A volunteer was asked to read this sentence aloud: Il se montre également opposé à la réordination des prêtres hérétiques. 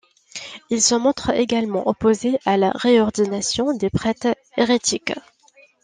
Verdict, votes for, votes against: accepted, 2, 0